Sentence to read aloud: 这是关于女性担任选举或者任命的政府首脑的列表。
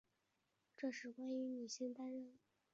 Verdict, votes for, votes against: rejected, 1, 2